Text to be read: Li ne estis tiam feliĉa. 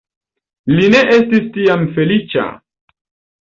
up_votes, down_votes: 2, 1